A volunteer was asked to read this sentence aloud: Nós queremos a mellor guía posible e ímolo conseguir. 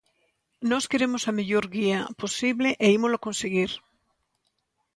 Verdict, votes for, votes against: accepted, 2, 0